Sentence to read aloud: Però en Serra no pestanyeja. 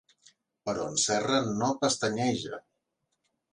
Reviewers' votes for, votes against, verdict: 2, 0, accepted